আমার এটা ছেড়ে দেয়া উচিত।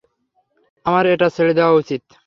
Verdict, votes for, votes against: accepted, 3, 0